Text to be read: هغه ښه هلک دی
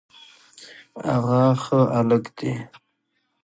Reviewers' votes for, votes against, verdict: 2, 1, accepted